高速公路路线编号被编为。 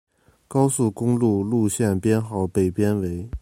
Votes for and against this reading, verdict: 2, 0, accepted